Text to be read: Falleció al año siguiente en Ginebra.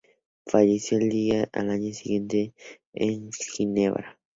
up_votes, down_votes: 0, 2